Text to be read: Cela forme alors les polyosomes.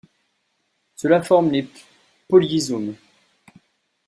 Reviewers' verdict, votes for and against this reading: rejected, 0, 2